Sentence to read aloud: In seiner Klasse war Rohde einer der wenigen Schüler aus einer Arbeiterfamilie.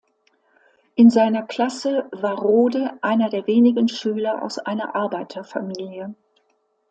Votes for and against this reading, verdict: 2, 0, accepted